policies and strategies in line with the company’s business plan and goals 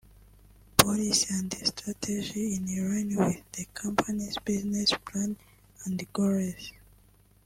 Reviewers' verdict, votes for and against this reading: rejected, 0, 2